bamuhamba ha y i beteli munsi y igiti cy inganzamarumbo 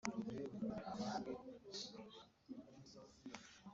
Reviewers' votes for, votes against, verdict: 0, 3, rejected